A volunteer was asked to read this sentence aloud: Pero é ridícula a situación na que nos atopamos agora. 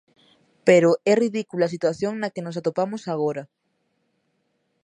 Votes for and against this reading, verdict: 2, 0, accepted